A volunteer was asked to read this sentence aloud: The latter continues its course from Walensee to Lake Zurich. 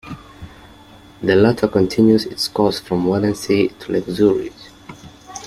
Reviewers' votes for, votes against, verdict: 2, 0, accepted